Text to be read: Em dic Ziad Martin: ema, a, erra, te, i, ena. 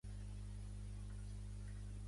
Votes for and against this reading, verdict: 0, 2, rejected